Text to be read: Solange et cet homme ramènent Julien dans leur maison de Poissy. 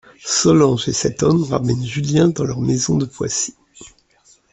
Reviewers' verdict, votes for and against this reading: accepted, 2, 0